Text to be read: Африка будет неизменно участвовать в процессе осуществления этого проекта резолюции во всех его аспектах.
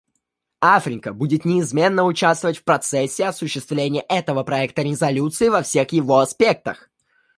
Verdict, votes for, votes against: accepted, 2, 0